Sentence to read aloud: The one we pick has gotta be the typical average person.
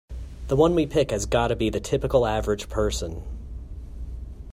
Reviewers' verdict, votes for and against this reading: accepted, 4, 0